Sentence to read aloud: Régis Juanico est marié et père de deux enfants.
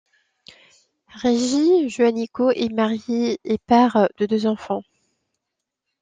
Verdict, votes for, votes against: accepted, 2, 0